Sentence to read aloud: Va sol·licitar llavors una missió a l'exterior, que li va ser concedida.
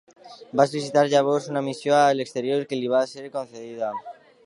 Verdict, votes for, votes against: rejected, 0, 2